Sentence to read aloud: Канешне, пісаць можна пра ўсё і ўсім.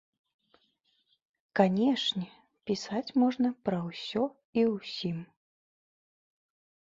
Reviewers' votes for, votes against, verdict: 2, 0, accepted